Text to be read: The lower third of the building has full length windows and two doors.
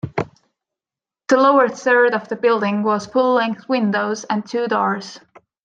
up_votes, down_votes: 0, 2